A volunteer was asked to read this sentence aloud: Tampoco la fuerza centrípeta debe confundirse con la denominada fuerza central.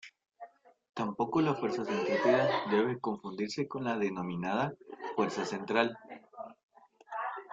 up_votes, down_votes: 1, 2